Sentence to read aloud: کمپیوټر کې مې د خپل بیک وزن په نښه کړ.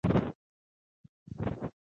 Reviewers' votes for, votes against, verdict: 1, 2, rejected